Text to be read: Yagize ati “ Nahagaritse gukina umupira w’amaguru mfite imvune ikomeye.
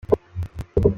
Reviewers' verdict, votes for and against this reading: rejected, 0, 2